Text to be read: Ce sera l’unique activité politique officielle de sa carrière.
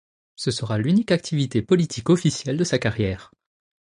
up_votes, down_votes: 2, 0